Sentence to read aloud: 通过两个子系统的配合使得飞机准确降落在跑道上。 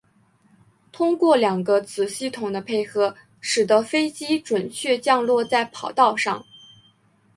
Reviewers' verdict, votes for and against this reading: accepted, 2, 0